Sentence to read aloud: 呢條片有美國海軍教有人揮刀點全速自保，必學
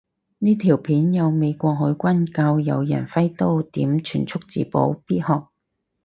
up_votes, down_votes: 4, 0